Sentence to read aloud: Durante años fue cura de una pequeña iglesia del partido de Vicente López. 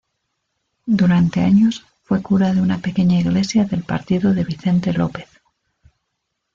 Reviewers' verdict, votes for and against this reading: accepted, 2, 0